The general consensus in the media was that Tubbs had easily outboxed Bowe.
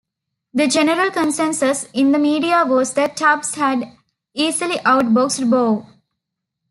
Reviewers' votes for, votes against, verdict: 0, 2, rejected